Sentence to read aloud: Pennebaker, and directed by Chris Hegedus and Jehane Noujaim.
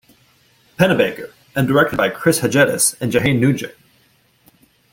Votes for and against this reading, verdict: 2, 1, accepted